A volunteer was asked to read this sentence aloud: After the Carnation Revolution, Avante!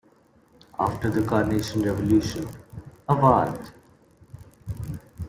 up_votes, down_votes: 0, 2